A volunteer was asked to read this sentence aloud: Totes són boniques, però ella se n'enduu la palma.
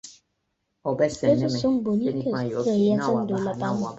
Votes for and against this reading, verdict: 0, 2, rejected